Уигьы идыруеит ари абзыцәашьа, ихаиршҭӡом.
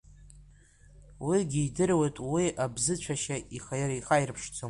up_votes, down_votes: 0, 2